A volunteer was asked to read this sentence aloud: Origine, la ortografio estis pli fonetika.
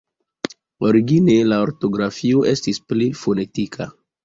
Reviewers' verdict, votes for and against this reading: accepted, 2, 0